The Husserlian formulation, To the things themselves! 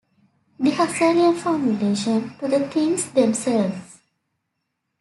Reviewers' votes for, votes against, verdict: 2, 0, accepted